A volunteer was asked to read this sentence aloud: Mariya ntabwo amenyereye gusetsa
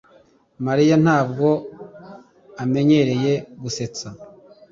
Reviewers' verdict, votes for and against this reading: accepted, 2, 0